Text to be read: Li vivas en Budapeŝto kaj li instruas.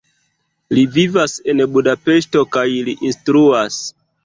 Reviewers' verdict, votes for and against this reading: rejected, 1, 2